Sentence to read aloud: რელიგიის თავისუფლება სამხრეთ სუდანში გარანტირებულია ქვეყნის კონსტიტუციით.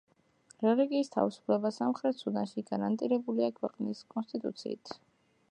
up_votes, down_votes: 2, 0